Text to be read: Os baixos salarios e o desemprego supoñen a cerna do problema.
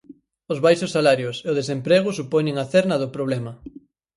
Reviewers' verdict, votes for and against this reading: accepted, 4, 0